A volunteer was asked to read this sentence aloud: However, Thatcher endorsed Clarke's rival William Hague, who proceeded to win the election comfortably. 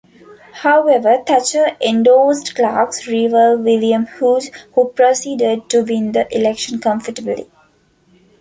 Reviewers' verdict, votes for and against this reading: rejected, 1, 2